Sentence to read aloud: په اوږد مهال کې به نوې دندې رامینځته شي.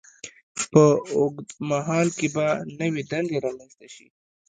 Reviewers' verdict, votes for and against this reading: rejected, 1, 2